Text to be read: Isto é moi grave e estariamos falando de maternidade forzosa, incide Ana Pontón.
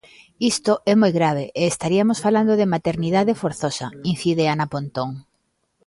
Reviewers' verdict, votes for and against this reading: rejected, 0, 2